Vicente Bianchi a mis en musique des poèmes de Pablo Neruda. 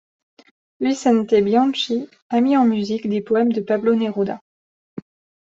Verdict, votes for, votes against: rejected, 1, 2